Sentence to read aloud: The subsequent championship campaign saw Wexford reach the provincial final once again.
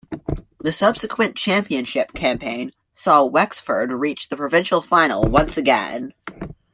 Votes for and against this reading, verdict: 2, 0, accepted